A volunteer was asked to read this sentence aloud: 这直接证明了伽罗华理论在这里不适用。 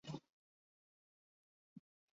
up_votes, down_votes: 2, 5